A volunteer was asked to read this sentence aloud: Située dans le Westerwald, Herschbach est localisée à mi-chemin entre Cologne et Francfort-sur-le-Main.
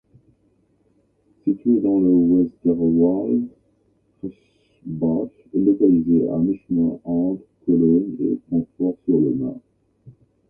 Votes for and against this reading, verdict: 0, 2, rejected